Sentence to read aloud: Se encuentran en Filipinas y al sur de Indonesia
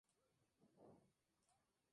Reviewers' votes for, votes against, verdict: 0, 2, rejected